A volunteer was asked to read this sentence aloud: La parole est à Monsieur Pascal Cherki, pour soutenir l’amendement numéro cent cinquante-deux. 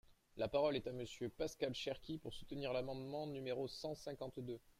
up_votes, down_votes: 1, 2